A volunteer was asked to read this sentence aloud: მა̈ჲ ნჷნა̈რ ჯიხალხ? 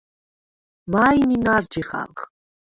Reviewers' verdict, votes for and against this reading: rejected, 0, 6